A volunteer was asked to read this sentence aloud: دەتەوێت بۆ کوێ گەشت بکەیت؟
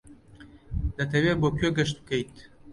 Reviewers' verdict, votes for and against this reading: accepted, 2, 0